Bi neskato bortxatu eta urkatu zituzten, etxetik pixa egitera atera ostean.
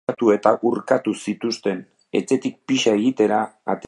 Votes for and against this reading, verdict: 0, 2, rejected